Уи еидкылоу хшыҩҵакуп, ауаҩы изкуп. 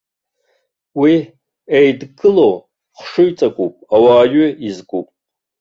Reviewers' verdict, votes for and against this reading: rejected, 0, 2